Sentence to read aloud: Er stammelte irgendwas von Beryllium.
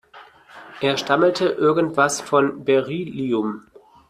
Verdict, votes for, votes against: rejected, 1, 2